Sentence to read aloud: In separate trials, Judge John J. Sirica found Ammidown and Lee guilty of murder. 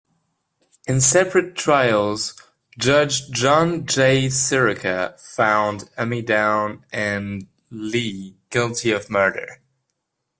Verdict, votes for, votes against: accepted, 2, 0